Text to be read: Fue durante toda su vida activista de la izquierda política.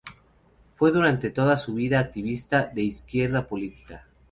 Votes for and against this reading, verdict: 0, 2, rejected